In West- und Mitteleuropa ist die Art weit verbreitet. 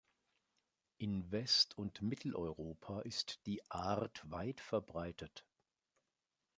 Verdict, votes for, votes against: accepted, 2, 0